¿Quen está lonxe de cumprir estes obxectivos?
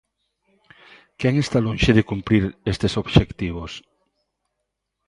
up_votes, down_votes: 2, 0